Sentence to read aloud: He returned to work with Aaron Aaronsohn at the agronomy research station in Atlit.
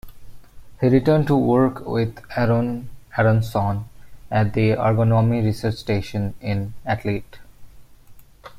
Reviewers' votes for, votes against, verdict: 1, 2, rejected